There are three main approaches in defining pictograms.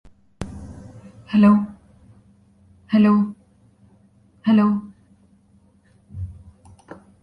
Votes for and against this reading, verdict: 0, 2, rejected